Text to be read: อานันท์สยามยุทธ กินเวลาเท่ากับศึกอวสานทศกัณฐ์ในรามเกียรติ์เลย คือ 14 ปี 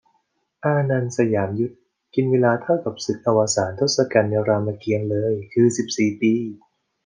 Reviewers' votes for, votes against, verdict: 0, 2, rejected